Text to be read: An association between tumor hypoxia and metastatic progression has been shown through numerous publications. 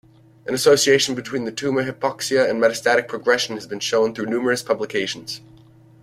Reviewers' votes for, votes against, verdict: 2, 0, accepted